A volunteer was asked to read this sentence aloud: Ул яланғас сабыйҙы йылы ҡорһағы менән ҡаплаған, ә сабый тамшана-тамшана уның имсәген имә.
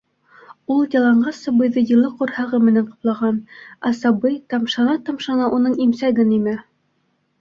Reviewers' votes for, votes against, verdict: 2, 0, accepted